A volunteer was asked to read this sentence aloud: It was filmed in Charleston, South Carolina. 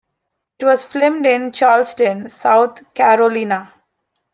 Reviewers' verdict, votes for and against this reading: rejected, 0, 2